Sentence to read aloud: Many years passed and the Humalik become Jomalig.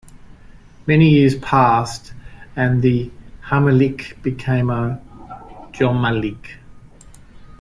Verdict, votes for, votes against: rejected, 1, 2